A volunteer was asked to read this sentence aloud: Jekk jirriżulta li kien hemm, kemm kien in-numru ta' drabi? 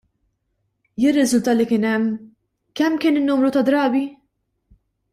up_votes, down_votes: 1, 2